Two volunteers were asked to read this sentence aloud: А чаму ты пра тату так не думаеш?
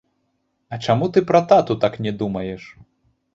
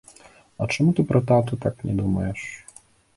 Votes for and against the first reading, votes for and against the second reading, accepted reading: 0, 3, 2, 0, second